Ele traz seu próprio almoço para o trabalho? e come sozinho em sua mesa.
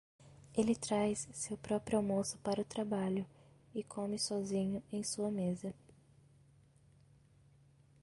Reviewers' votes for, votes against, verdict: 1, 2, rejected